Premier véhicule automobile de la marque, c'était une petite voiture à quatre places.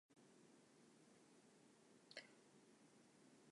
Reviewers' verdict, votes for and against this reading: rejected, 0, 2